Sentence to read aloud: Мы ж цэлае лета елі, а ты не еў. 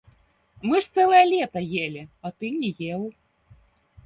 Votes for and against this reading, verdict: 0, 2, rejected